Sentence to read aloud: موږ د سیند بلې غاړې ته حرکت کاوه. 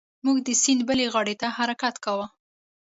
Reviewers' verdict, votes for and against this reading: accepted, 2, 0